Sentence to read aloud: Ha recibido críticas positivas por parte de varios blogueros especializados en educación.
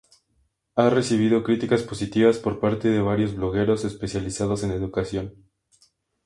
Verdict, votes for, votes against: accepted, 2, 0